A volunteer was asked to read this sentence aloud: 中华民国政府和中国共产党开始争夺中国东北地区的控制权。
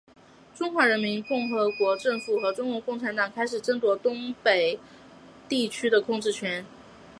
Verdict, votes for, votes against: accepted, 2, 0